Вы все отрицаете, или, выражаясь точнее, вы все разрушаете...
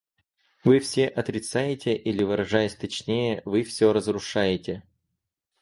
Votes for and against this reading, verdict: 2, 2, rejected